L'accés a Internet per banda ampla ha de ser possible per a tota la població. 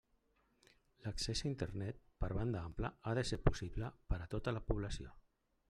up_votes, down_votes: 1, 2